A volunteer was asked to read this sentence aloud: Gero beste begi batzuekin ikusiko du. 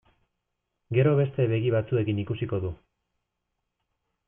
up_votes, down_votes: 2, 0